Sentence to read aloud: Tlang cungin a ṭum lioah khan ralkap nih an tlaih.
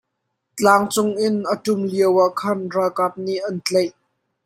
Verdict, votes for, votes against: accepted, 2, 0